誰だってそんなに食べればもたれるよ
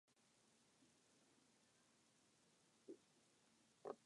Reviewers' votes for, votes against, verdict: 0, 2, rejected